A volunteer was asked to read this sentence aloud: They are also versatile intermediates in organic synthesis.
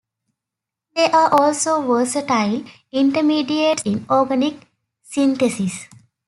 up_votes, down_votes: 1, 2